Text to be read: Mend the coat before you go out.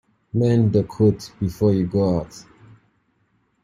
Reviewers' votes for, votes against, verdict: 1, 2, rejected